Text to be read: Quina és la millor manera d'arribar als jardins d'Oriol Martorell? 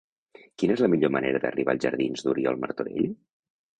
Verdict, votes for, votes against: accepted, 3, 0